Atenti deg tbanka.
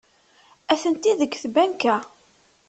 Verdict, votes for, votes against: accepted, 2, 0